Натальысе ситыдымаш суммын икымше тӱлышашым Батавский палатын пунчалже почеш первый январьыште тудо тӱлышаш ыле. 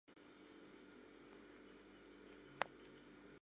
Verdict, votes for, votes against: rejected, 1, 3